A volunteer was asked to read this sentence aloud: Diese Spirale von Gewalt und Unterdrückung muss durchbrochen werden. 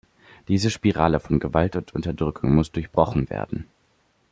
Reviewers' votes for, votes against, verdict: 2, 0, accepted